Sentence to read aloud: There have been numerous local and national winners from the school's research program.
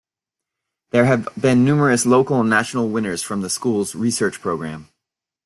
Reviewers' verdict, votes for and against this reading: accepted, 2, 0